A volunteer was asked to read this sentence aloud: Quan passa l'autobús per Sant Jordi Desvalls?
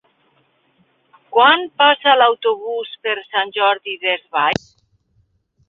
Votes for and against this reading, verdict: 4, 3, accepted